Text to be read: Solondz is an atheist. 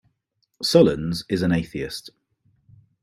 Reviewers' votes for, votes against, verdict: 2, 0, accepted